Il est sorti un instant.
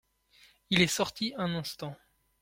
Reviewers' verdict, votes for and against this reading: accepted, 2, 0